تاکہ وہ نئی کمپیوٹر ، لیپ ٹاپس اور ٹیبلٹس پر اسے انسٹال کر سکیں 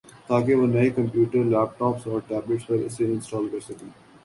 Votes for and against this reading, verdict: 2, 0, accepted